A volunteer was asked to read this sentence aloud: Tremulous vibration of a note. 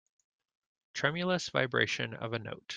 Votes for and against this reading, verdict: 2, 0, accepted